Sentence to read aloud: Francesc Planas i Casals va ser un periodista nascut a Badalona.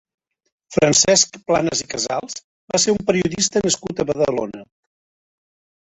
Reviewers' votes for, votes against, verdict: 1, 2, rejected